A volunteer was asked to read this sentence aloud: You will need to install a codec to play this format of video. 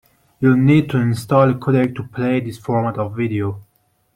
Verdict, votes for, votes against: rejected, 1, 2